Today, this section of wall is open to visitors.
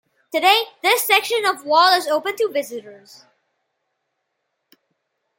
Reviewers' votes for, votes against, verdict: 3, 1, accepted